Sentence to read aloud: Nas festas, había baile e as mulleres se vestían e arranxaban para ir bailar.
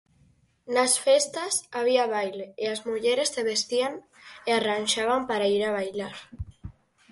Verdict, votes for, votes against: rejected, 0, 4